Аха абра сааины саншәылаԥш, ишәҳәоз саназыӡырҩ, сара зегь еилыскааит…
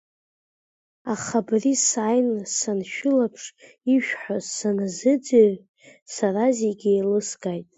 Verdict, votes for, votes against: accepted, 2, 0